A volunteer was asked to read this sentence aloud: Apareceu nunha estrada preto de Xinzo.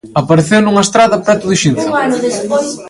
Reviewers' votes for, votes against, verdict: 0, 2, rejected